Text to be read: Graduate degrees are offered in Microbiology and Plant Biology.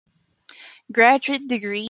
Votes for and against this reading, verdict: 0, 2, rejected